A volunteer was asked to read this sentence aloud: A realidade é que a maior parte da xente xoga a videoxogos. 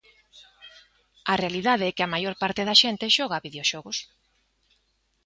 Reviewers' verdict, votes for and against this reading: accepted, 2, 0